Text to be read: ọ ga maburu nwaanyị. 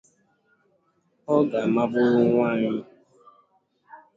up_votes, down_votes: 0, 2